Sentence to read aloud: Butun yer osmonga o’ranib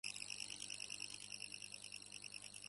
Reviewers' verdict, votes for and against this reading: rejected, 0, 2